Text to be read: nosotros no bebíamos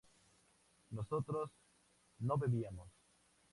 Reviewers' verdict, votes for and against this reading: accepted, 2, 0